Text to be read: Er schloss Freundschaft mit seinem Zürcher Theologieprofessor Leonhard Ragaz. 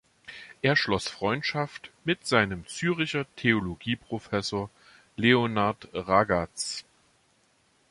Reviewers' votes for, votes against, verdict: 0, 2, rejected